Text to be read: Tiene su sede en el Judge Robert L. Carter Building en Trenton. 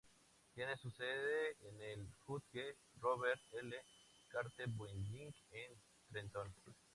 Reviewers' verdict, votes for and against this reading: rejected, 0, 2